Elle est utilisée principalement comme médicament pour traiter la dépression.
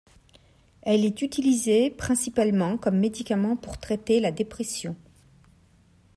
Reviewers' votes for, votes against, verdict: 2, 0, accepted